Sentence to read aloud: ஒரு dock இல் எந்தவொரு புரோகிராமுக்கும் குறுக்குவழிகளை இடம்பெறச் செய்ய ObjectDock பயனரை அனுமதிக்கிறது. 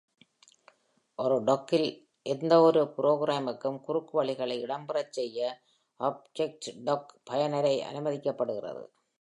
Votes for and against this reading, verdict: 1, 2, rejected